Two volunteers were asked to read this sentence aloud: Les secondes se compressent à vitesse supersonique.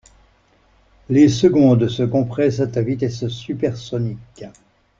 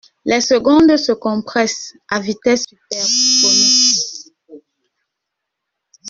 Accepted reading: first